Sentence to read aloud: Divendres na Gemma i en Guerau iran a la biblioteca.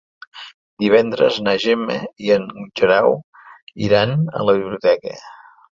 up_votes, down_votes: 3, 1